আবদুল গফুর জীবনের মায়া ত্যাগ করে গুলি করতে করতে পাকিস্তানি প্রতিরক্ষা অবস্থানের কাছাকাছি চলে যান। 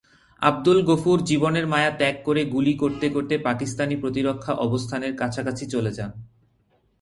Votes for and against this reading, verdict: 2, 0, accepted